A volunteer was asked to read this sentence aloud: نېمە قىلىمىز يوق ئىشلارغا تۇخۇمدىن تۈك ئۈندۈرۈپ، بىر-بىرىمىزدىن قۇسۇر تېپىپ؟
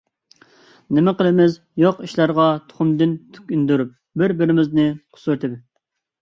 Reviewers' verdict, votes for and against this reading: rejected, 0, 2